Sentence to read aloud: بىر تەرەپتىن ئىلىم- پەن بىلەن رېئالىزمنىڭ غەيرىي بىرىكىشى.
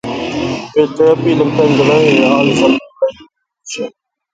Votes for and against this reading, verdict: 0, 2, rejected